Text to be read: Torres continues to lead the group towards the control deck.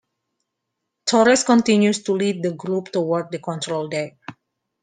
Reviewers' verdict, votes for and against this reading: accepted, 2, 1